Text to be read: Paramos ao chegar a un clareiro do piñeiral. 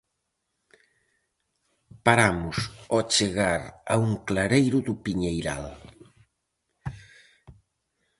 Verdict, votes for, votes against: accepted, 4, 0